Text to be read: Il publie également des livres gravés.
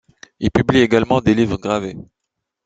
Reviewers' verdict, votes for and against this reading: accepted, 2, 0